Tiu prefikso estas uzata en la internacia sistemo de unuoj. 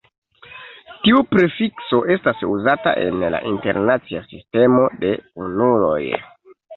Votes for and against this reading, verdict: 1, 2, rejected